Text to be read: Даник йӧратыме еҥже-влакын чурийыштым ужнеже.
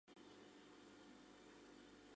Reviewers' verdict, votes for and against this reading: rejected, 0, 2